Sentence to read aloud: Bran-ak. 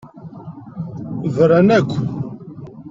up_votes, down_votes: 1, 2